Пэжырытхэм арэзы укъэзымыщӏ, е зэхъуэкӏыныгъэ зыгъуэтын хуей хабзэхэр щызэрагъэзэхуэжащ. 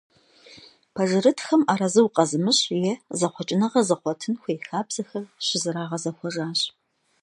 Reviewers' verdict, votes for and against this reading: accepted, 2, 0